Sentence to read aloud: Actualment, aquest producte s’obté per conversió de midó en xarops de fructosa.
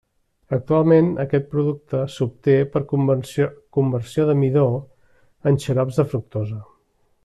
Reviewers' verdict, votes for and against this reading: rejected, 1, 2